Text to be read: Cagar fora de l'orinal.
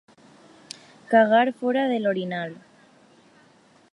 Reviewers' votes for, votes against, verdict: 2, 0, accepted